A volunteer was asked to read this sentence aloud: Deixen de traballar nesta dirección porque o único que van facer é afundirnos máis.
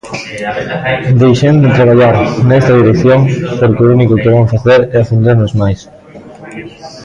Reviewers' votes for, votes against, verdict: 0, 2, rejected